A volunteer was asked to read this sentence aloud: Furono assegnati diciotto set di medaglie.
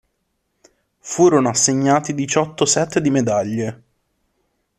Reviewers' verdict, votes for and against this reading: accepted, 2, 1